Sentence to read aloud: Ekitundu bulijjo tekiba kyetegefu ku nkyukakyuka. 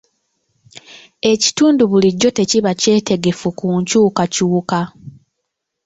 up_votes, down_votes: 1, 2